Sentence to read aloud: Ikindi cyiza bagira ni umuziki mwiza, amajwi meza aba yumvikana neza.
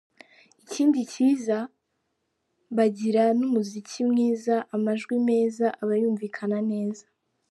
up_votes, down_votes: 2, 0